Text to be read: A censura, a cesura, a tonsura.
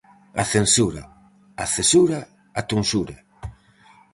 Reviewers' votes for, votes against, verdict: 4, 0, accepted